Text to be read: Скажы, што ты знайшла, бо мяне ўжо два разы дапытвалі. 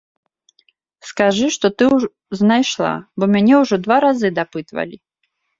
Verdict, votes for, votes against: rejected, 0, 2